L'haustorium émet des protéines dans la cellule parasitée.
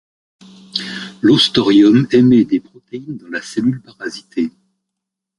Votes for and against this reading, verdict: 1, 2, rejected